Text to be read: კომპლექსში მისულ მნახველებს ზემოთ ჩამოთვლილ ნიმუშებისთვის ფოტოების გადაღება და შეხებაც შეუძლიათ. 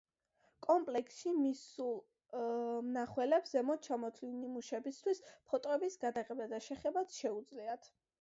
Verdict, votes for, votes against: rejected, 0, 2